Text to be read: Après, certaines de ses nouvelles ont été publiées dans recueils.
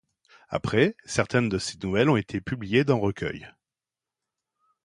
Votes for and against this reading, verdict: 2, 0, accepted